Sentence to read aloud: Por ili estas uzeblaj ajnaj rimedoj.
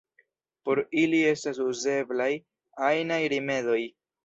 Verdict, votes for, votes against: accepted, 2, 0